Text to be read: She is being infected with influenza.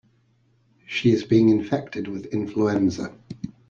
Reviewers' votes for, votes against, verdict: 2, 0, accepted